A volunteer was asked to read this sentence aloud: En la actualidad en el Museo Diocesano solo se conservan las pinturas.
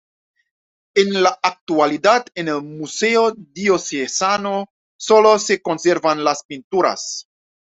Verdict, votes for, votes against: accepted, 2, 0